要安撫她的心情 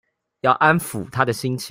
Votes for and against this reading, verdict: 2, 0, accepted